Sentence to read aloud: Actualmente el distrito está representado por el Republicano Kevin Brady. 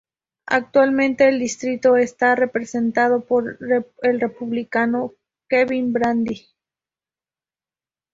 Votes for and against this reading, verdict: 2, 0, accepted